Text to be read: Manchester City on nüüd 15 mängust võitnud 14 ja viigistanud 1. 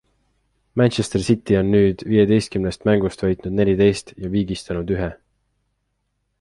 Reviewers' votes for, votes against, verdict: 0, 2, rejected